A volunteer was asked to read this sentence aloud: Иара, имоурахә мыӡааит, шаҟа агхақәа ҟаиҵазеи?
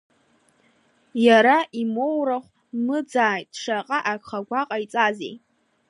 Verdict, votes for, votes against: accepted, 2, 0